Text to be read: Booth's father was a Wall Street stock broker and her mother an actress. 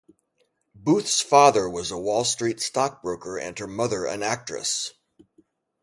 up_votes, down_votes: 0, 2